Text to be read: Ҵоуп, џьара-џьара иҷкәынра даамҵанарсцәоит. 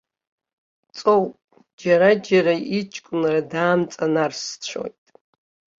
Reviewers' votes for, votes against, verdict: 2, 1, accepted